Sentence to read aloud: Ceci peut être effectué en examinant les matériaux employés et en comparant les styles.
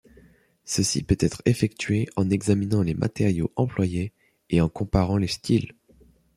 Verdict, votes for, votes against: accepted, 2, 0